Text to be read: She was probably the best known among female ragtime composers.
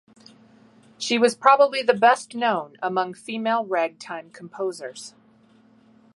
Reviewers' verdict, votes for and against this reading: accepted, 2, 0